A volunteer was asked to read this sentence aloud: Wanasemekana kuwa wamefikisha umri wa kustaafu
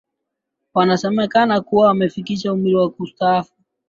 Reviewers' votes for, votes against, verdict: 2, 1, accepted